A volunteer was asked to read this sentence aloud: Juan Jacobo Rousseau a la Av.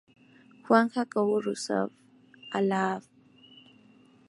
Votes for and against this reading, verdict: 0, 2, rejected